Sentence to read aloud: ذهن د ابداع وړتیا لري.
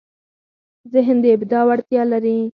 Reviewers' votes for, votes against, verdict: 4, 0, accepted